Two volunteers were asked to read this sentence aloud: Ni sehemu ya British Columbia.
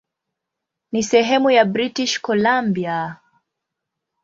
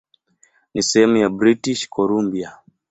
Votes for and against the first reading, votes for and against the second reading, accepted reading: 0, 2, 2, 0, second